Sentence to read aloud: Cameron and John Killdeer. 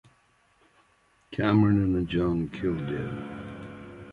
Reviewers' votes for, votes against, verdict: 0, 2, rejected